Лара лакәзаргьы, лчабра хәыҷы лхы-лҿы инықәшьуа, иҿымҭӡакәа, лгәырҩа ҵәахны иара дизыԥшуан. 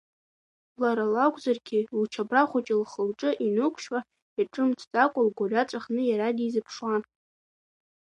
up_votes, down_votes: 2, 0